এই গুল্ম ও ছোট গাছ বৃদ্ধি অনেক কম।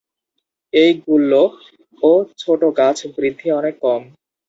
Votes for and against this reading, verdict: 0, 2, rejected